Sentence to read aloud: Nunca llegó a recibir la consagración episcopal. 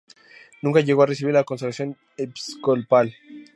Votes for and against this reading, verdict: 0, 2, rejected